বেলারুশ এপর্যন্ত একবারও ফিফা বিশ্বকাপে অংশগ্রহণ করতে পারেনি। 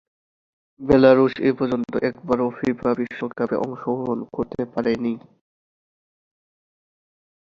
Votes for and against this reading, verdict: 2, 0, accepted